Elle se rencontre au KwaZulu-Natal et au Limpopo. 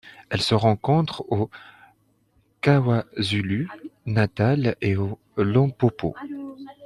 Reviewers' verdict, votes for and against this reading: rejected, 0, 2